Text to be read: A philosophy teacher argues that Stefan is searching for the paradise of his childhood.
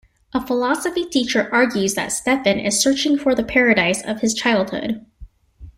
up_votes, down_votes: 2, 0